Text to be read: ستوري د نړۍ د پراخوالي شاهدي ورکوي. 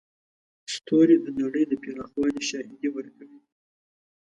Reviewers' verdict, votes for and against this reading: accepted, 2, 0